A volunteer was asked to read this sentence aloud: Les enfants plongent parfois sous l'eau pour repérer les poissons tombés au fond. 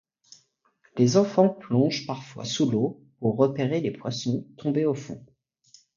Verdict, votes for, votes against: accepted, 2, 0